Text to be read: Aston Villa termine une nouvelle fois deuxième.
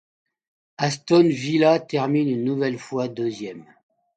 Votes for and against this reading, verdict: 2, 0, accepted